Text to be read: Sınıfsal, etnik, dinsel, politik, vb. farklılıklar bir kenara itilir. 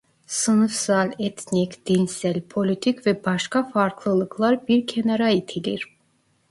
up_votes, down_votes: 0, 2